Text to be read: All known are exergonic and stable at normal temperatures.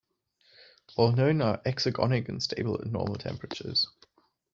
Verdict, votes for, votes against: accepted, 2, 0